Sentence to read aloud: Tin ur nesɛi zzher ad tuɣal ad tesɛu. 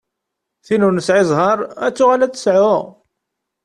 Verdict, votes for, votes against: rejected, 0, 2